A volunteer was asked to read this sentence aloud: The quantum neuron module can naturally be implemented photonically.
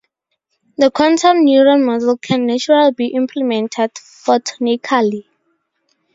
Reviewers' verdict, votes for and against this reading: accepted, 4, 0